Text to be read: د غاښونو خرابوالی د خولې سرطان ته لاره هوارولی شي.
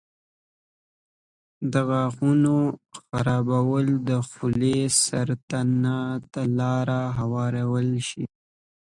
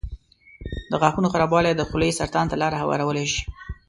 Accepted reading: second